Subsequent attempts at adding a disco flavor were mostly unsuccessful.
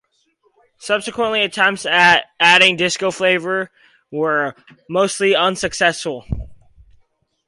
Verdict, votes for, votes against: rejected, 2, 2